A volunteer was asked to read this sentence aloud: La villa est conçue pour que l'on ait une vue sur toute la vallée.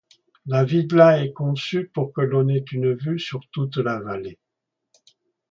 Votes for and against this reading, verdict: 1, 2, rejected